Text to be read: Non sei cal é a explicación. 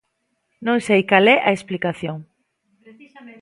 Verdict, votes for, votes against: rejected, 0, 2